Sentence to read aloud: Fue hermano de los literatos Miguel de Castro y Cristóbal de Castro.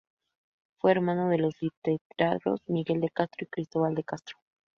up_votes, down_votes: 0, 4